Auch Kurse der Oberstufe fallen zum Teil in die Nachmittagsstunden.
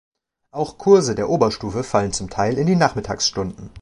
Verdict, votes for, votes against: accepted, 2, 0